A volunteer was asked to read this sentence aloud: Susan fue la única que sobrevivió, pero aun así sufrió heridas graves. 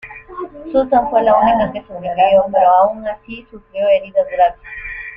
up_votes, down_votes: 1, 2